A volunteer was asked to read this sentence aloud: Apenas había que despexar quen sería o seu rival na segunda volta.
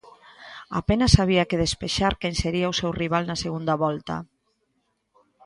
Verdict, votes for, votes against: accepted, 2, 0